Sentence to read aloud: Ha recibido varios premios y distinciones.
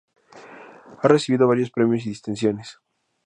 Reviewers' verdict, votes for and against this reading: accepted, 2, 0